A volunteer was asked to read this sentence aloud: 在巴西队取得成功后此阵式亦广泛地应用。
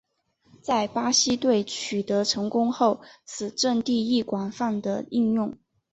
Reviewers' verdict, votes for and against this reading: accepted, 2, 1